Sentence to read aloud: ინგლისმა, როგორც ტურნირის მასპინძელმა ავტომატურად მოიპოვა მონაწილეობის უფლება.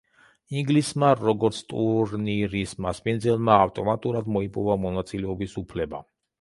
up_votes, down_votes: 1, 2